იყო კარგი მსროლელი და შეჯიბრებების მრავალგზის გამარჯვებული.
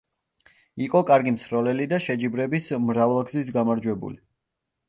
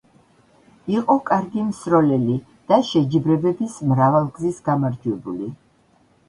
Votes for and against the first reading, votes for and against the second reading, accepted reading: 0, 2, 2, 0, second